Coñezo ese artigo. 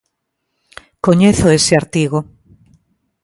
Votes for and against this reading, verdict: 2, 1, accepted